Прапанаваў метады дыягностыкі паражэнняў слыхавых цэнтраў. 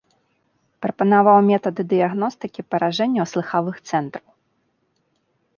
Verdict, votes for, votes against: accepted, 2, 0